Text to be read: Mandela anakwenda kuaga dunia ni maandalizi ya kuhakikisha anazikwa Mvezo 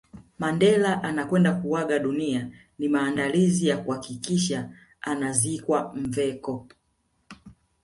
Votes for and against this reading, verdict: 1, 2, rejected